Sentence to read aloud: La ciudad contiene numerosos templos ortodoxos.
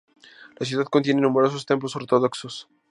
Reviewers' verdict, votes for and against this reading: accepted, 2, 0